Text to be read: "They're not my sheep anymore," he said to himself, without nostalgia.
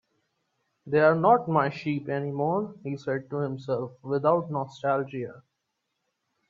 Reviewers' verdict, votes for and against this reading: accepted, 2, 0